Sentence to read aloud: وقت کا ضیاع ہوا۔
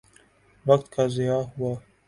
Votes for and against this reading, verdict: 2, 0, accepted